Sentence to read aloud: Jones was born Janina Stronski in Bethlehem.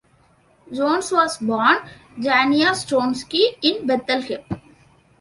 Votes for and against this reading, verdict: 2, 3, rejected